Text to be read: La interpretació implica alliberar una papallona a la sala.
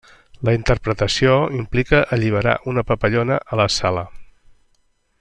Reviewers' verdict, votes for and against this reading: accepted, 3, 0